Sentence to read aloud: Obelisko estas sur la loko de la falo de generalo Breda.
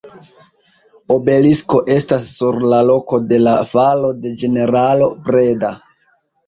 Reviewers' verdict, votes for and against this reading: rejected, 0, 2